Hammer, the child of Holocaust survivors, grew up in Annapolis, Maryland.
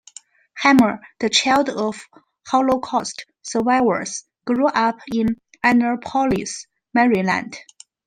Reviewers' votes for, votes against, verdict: 2, 0, accepted